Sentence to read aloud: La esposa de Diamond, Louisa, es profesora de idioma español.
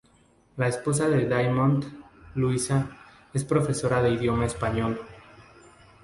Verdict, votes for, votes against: accepted, 2, 0